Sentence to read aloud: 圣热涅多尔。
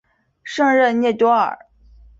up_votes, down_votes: 3, 0